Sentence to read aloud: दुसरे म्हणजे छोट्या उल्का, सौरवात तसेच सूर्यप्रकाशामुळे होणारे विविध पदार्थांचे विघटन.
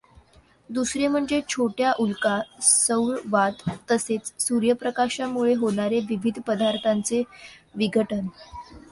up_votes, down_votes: 2, 0